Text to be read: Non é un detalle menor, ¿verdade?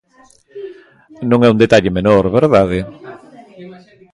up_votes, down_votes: 0, 2